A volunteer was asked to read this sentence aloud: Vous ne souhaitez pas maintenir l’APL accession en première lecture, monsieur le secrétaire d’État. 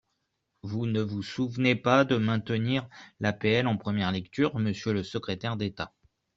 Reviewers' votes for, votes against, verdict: 0, 2, rejected